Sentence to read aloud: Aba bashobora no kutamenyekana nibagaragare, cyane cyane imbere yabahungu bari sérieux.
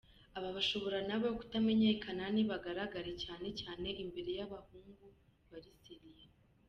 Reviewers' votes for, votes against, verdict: 1, 2, rejected